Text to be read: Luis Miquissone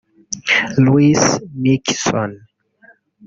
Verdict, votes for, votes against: rejected, 0, 2